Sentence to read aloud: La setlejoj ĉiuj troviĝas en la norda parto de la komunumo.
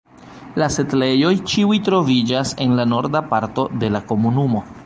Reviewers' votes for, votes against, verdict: 2, 1, accepted